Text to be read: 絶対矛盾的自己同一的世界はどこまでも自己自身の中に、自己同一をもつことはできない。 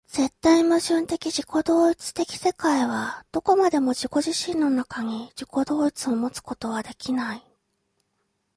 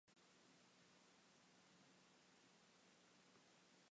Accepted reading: first